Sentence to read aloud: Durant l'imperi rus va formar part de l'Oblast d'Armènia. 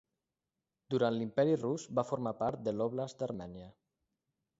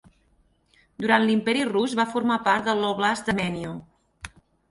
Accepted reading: first